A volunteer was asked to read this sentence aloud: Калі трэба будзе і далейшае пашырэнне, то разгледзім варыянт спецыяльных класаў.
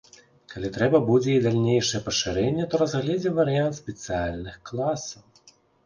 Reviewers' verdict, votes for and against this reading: rejected, 0, 4